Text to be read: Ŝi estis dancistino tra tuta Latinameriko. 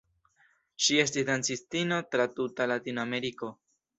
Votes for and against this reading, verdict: 2, 0, accepted